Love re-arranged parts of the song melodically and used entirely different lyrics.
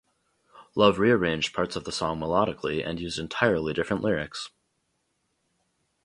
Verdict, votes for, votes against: accepted, 2, 0